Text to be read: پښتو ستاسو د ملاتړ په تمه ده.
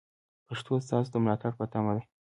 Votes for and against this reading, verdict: 2, 0, accepted